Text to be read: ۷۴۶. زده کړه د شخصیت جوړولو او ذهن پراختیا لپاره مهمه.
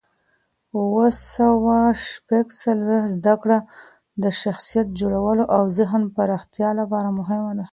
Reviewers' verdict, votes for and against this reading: rejected, 0, 2